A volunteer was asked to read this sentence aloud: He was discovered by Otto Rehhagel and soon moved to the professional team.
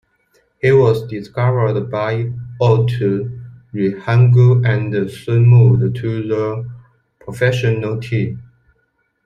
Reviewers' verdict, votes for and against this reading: rejected, 0, 2